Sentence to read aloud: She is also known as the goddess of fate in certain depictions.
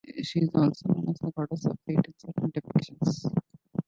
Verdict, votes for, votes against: rejected, 0, 2